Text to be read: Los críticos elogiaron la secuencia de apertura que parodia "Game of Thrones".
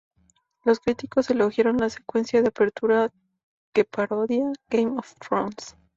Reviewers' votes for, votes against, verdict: 0, 2, rejected